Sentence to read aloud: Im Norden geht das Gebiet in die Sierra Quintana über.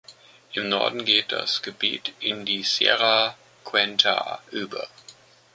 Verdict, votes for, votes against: rejected, 0, 2